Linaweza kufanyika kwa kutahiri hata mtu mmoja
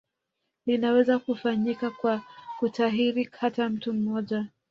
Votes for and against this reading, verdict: 1, 2, rejected